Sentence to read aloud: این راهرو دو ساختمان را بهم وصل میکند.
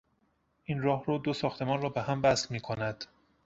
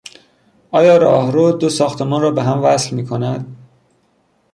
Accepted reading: first